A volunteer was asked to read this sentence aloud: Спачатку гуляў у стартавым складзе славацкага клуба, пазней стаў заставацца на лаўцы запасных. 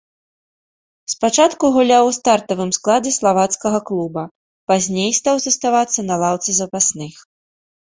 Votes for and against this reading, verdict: 2, 0, accepted